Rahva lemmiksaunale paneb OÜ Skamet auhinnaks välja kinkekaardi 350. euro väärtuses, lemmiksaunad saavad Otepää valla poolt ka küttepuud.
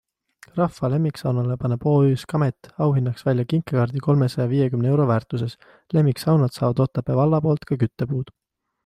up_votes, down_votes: 0, 2